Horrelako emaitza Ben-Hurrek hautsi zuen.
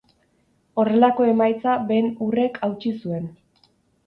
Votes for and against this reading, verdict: 4, 0, accepted